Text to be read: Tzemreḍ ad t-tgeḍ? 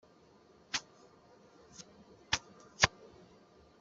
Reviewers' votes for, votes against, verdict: 0, 2, rejected